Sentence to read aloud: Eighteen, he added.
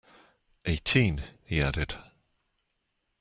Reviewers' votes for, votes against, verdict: 2, 0, accepted